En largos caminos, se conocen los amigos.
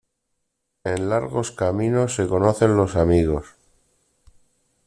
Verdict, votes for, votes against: rejected, 1, 2